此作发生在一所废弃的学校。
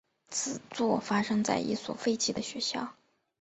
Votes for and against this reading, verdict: 2, 0, accepted